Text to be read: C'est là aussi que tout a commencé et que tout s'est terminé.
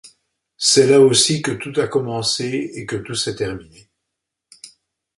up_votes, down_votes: 2, 0